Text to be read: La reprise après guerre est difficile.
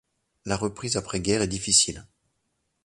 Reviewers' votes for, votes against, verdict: 2, 0, accepted